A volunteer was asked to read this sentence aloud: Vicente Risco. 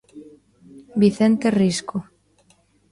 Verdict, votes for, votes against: rejected, 0, 2